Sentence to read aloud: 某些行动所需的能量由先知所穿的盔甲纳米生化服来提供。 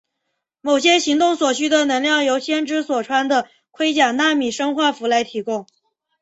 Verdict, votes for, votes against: accepted, 2, 1